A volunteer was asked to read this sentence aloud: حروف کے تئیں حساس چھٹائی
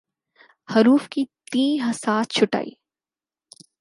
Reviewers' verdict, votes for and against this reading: accepted, 4, 2